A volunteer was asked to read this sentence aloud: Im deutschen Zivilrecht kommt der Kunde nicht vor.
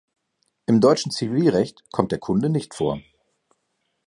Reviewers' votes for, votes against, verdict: 2, 0, accepted